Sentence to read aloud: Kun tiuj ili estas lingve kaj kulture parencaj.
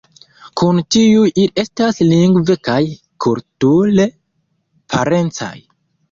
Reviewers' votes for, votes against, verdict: 1, 2, rejected